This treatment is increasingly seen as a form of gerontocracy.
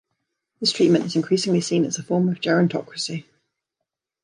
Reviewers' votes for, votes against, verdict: 2, 0, accepted